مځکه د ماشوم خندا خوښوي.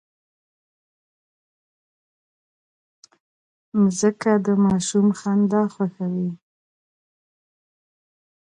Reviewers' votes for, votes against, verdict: 0, 2, rejected